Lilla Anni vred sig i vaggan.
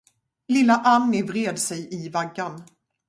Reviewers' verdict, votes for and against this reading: accepted, 2, 0